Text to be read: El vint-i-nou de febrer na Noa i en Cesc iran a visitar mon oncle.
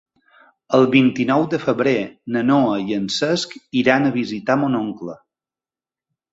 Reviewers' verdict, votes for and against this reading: accepted, 2, 0